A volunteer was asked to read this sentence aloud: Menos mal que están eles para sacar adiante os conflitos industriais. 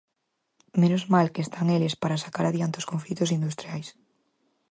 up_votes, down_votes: 4, 0